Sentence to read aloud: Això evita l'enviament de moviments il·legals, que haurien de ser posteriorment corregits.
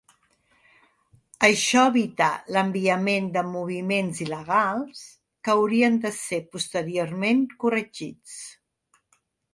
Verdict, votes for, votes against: accepted, 3, 0